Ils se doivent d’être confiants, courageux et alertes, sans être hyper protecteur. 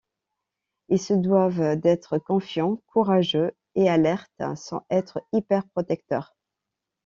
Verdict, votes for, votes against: rejected, 1, 2